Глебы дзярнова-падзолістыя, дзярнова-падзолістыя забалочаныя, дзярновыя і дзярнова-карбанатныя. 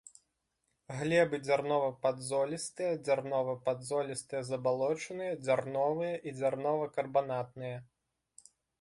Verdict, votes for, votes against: accepted, 3, 0